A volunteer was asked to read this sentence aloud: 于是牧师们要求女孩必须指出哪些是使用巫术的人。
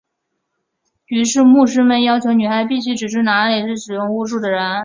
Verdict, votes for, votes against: accepted, 2, 0